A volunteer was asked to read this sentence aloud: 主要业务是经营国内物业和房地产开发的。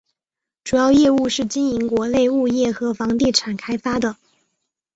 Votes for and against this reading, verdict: 4, 0, accepted